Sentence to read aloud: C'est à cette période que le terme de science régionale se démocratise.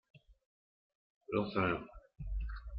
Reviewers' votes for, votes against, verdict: 0, 2, rejected